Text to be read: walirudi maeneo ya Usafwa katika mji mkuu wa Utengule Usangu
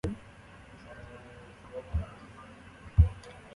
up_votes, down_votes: 0, 4